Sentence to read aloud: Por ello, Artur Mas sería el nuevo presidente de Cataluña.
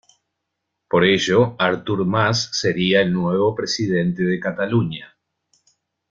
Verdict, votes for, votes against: accepted, 2, 0